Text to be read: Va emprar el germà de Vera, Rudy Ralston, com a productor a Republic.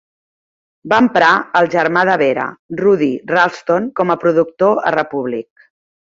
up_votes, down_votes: 2, 0